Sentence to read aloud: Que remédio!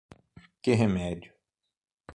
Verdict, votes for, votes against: rejected, 3, 6